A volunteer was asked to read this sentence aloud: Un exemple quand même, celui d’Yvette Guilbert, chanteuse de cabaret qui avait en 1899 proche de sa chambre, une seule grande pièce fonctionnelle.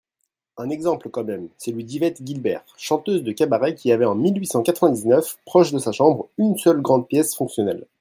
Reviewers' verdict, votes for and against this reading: rejected, 0, 2